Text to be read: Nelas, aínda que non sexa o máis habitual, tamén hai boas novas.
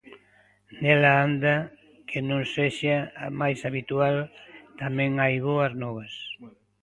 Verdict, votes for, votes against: rejected, 0, 2